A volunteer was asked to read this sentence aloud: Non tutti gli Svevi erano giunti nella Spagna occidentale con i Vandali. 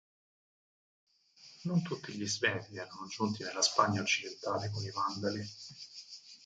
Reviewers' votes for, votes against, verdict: 2, 4, rejected